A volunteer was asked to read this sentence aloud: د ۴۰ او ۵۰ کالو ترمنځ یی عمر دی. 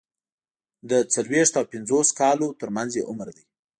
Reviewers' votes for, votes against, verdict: 0, 2, rejected